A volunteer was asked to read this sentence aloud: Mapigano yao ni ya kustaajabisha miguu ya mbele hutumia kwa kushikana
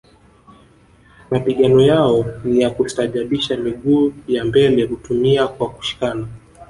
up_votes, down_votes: 2, 0